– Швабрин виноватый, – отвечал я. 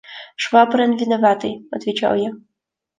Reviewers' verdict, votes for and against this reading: accepted, 2, 1